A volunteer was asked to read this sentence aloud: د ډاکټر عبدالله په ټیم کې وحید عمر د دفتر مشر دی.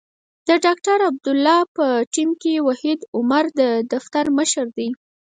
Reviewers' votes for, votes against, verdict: 0, 4, rejected